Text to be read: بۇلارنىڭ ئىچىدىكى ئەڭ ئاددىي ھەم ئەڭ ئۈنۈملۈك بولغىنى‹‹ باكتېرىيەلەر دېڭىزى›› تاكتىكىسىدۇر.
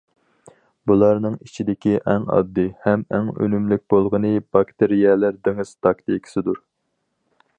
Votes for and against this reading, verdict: 2, 2, rejected